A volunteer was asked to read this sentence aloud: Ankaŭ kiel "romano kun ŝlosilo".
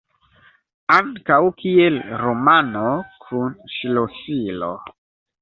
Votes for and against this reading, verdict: 2, 1, accepted